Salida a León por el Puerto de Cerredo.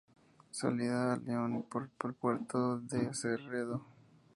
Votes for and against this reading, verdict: 2, 0, accepted